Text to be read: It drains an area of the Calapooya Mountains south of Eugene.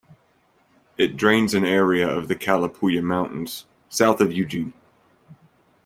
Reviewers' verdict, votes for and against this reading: accepted, 2, 0